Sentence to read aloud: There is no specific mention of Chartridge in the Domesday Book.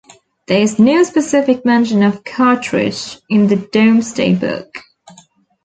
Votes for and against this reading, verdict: 1, 2, rejected